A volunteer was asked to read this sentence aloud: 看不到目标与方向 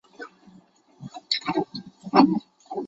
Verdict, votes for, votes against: rejected, 0, 4